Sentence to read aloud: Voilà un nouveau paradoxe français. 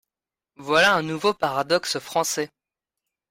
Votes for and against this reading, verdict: 2, 0, accepted